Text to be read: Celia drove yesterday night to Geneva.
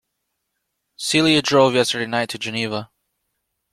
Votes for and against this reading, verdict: 2, 0, accepted